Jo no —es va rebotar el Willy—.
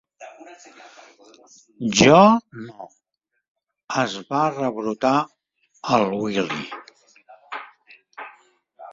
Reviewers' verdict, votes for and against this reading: rejected, 0, 2